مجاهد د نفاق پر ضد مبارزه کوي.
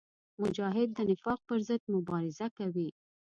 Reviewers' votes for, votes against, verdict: 2, 0, accepted